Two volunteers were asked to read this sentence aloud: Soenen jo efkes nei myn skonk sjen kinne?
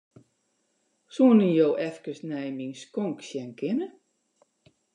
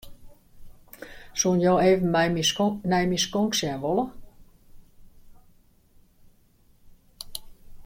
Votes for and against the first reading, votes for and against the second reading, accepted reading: 2, 0, 0, 2, first